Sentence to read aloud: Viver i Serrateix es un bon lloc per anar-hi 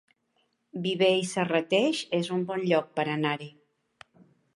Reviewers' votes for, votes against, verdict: 2, 0, accepted